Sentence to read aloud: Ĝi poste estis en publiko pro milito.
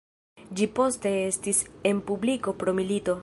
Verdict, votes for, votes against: accepted, 2, 0